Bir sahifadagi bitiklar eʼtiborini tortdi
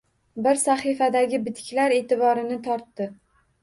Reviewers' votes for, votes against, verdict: 2, 1, accepted